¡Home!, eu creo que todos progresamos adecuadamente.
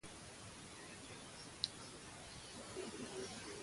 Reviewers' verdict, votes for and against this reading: rejected, 0, 3